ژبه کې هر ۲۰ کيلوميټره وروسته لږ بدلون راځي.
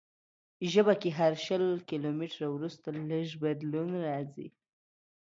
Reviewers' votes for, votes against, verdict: 0, 2, rejected